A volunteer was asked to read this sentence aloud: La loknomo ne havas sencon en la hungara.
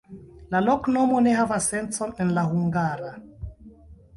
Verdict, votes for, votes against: rejected, 1, 2